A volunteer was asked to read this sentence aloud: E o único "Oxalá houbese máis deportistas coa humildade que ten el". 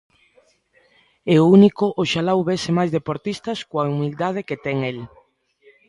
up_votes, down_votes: 2, 0